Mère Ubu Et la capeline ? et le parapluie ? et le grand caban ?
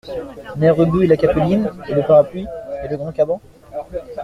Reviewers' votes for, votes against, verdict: 1, 2, rejected